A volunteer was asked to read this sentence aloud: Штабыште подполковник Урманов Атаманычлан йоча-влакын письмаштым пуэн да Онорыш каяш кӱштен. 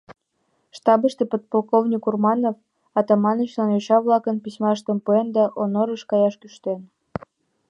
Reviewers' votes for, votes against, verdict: 2, 0, accepted